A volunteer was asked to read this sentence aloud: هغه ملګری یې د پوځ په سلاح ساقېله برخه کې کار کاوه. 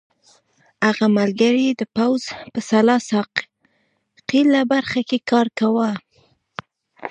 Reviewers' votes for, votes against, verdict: 1, 2, rejected